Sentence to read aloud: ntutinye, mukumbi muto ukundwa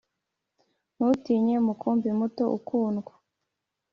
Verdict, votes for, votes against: accepted, 2, 0